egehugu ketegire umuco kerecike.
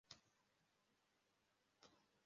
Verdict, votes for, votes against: rejected, 0, 2